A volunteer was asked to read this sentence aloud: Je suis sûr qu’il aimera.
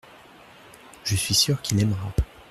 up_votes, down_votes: 2, 0